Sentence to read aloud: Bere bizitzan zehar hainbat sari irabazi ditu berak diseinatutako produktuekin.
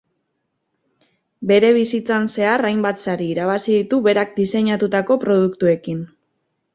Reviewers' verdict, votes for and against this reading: accepted, 3, 0